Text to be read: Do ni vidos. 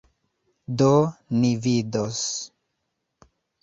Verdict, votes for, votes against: rejected, 1, 2